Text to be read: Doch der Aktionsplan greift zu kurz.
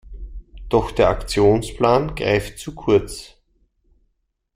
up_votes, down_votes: 2, 0